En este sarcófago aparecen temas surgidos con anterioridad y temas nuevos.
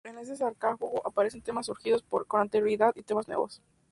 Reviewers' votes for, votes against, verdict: 0, 2, rejected